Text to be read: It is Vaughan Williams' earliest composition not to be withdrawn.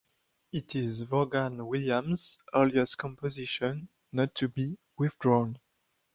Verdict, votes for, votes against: rejected, 1, 2